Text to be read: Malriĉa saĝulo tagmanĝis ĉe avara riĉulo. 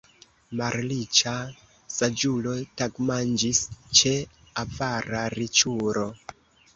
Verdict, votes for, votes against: rejected, 0, 2